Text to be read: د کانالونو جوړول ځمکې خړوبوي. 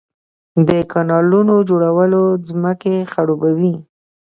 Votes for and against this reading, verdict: 3, 0, accepted